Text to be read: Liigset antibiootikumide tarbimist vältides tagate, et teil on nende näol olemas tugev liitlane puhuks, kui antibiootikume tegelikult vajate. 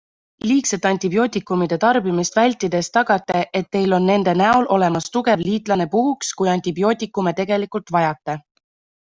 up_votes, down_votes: 2, 0